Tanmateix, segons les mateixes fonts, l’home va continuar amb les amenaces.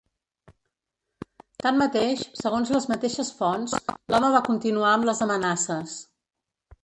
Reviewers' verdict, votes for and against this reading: accepted, 3, 0